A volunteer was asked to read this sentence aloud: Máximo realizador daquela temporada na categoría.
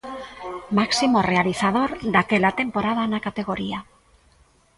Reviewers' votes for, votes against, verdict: 2, 0, accepted